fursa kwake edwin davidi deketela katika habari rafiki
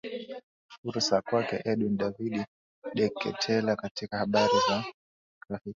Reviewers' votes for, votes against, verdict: 1, 2, rejected